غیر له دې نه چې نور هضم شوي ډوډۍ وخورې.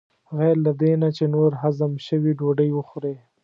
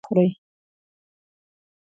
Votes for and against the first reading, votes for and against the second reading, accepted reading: 2, 0, 1, 2, first